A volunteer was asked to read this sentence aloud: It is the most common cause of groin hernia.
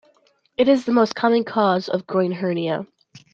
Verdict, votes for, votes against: accepted, 2, 0